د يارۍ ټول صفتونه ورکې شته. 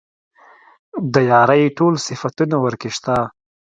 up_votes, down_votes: 2, 0